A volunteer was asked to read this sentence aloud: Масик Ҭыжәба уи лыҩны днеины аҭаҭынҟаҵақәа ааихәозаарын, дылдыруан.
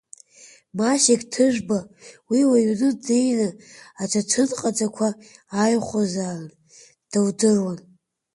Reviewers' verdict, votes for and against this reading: accepted, 2, 0